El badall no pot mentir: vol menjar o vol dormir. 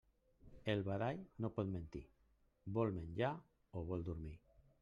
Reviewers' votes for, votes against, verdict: 0, 2, rejected